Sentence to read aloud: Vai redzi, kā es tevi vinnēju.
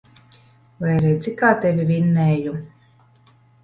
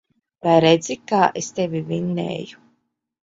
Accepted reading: second